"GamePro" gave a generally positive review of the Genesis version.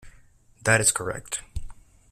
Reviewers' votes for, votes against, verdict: 0, 2, rejected